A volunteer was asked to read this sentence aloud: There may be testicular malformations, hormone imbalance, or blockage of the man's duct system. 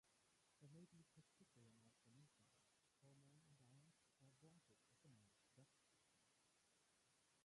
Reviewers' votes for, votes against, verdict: 0, 4, rejected